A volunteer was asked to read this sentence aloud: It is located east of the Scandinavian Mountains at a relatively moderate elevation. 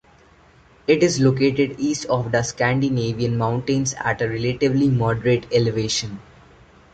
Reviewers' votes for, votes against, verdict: 1, 2, rejected